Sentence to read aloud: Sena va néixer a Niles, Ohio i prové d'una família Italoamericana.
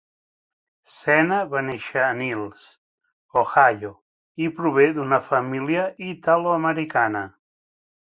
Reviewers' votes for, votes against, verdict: 3, 0, accepted